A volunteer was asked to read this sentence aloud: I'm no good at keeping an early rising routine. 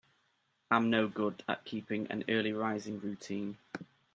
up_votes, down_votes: 2, 0